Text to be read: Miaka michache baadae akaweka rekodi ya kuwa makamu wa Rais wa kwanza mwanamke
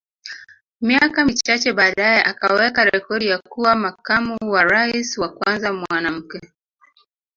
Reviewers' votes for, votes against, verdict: 1, 2, rejected